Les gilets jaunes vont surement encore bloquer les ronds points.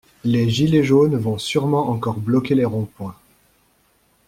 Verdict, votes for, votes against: accepted, 2, 0